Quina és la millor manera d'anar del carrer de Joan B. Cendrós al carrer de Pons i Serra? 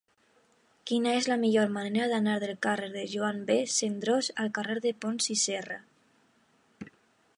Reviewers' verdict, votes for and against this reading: accepted, 2, 0